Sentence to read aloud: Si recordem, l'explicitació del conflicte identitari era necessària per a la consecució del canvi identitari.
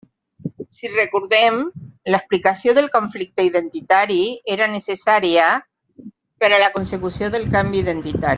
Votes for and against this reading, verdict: 1, 2, rejected